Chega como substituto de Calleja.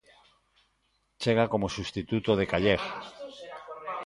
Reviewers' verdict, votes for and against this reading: rejected, 0, 2